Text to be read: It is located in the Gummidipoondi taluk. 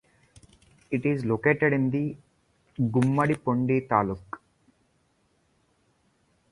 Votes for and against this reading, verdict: 2, 0, accepted